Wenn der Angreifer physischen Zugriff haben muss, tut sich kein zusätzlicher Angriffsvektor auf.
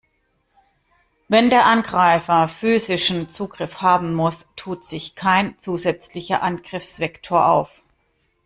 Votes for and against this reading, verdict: 2, 0, accepted